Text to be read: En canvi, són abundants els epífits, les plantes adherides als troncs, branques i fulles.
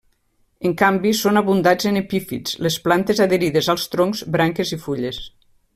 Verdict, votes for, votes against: rejected, 1, 2